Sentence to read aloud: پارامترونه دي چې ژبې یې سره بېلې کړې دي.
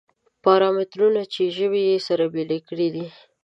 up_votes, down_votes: 1, 2